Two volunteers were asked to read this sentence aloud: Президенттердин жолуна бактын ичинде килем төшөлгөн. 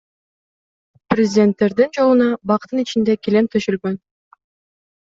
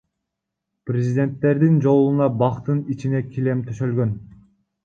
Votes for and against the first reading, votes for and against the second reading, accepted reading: 2, 0, 0, 2, first